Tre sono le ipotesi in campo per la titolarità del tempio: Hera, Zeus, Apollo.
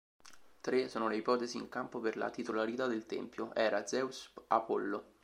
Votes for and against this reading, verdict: 2, 0, accepted